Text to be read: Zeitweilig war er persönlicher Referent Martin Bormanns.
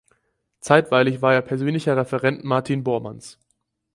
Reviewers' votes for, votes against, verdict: 4, 0, accepted